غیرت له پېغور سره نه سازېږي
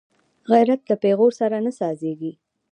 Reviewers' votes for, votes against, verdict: 0, 2, rejected